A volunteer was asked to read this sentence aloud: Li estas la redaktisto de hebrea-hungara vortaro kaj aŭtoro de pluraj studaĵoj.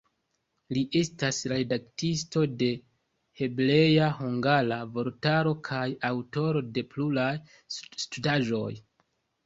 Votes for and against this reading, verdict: 1, 2, rejected